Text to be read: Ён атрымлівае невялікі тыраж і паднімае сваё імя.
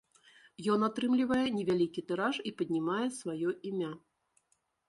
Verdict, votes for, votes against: accepted, 2, 0